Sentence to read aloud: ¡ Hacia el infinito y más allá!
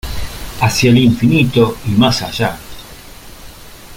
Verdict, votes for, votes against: accepted, 2, 0